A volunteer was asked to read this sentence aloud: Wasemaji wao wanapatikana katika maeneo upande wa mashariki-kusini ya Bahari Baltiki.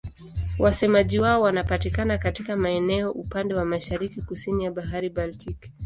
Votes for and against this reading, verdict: 2, 0, accepted